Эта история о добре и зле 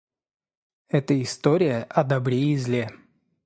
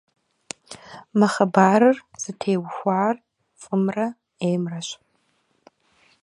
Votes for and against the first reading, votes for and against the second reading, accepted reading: 2, 0, 0, 2, first